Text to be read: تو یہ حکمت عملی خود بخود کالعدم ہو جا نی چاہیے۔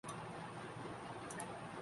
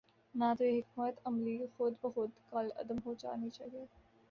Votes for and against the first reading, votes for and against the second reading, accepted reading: 1, 4, 3, 2, second